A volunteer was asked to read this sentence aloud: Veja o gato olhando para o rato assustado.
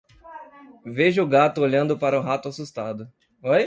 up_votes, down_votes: 0, 2